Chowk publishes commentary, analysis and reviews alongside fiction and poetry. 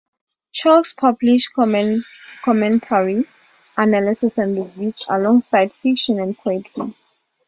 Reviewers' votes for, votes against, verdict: 0, 2, rejected